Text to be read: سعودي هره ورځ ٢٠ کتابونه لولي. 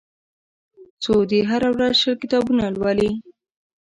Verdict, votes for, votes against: rejected, 0, 2